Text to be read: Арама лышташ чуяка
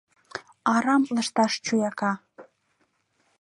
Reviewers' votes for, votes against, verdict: 0, 2, rejected